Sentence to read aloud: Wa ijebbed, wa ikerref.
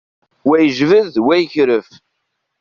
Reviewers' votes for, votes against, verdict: 1, 2, rejected